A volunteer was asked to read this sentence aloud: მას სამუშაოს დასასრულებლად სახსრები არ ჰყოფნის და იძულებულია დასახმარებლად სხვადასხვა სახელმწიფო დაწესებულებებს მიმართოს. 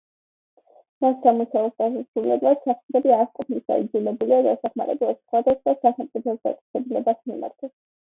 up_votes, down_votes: 1, 2